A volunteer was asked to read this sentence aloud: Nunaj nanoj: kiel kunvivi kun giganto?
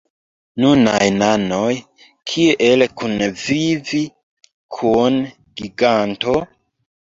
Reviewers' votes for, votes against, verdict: 0, 2, rejected